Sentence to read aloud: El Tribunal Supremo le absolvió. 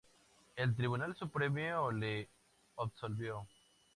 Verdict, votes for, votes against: rejected, 0, 2